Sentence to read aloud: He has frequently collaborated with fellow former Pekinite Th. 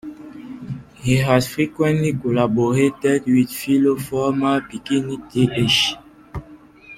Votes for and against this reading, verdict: 0, 2, rejected